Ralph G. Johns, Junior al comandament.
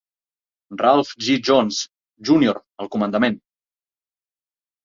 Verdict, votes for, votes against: rejected, 0, 2